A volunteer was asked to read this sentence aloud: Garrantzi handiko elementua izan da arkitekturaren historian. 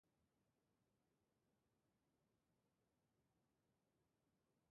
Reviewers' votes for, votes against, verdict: 0, 3, rejected